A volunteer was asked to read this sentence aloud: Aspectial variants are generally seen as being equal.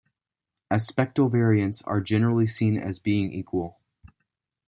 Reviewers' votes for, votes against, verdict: 0, 2, rejected